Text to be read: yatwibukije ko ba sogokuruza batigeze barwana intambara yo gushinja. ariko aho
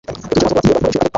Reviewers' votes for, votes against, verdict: 0, 2, rejected